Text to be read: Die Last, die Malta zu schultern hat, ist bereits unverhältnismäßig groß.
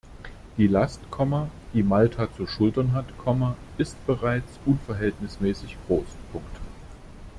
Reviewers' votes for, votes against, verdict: 0, 2, rejected